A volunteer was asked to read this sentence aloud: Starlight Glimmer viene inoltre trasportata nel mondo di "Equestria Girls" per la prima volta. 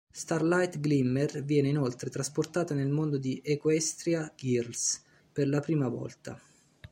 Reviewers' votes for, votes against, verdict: 1, 2, rejected